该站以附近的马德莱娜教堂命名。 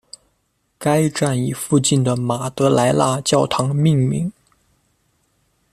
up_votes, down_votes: 0, 2